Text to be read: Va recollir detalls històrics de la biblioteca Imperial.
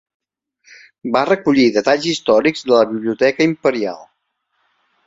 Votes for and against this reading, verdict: 3, 0, accepted